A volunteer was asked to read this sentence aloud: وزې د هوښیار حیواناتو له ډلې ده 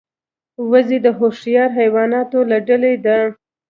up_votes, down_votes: 1, 2